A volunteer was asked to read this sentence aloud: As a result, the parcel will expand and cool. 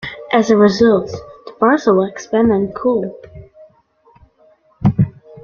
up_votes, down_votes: 2, 0